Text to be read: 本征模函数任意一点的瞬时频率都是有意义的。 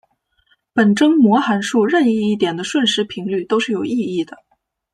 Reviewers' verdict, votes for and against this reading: accepted, 2, 0